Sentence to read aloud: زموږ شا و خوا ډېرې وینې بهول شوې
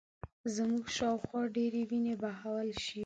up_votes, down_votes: 2, 1